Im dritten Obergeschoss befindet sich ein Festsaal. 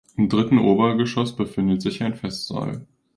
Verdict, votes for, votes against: accepted, 3, 0